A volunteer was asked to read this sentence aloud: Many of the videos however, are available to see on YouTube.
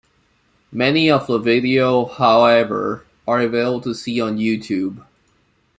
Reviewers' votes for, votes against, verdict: 0, 2, rejected